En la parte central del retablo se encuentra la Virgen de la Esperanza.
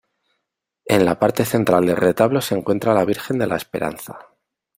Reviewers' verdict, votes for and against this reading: accepted, 2, 0